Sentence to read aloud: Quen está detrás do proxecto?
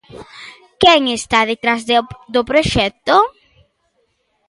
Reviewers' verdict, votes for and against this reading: rejected, 1, 2